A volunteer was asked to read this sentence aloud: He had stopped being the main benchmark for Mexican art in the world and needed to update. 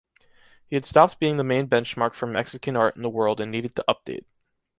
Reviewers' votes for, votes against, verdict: 2, 0, accepted